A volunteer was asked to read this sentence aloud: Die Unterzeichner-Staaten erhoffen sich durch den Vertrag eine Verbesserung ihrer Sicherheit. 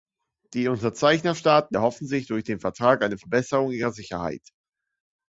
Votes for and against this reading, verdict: 2, 0, accepted